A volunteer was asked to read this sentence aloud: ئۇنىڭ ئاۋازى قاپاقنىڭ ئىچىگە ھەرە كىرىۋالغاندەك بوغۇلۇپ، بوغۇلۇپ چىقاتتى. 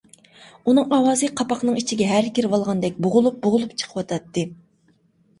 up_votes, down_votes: 0, 2